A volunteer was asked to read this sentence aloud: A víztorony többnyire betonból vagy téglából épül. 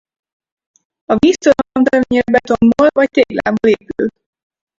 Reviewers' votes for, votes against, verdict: 0, 4, rejected